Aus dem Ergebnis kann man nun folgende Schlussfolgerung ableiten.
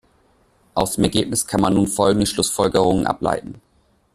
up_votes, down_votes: 1, 2